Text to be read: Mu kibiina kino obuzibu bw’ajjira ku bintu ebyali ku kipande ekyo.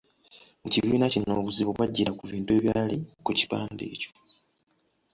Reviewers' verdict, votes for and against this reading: accepted, 2, 0